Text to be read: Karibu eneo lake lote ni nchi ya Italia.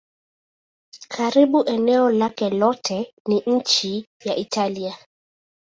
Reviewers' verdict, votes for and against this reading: accepted, 2, 0